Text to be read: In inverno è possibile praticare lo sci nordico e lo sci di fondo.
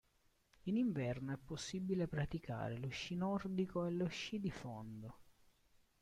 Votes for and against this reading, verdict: 0, 2, rejected